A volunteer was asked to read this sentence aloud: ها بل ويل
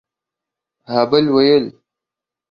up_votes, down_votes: 2, 0